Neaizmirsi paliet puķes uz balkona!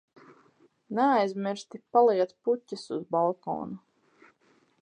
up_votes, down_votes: 0, 4